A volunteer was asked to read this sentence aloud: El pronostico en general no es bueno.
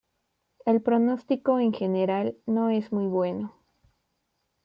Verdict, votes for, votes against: rejected, 1, 2